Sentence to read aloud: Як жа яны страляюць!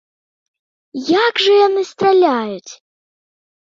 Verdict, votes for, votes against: accepted, 2, 0